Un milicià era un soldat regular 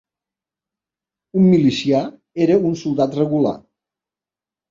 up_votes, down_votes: 4, 0